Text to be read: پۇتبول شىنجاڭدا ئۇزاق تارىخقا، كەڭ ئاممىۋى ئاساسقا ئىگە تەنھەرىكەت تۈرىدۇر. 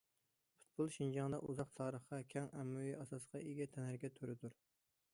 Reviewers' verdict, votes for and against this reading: accepted, 2, 0